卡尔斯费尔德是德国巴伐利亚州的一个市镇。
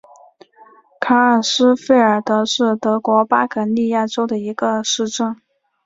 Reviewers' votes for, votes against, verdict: 2, 1, accepted